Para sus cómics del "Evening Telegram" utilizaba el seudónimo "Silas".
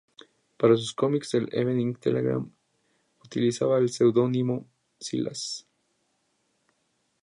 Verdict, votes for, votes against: rejected, 0, 2